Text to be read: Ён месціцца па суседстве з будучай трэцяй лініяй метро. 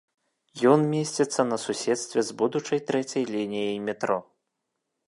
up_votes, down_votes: 0, 2